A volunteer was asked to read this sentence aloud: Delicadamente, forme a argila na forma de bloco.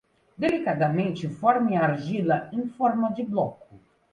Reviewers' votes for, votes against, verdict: 0, 2, rejected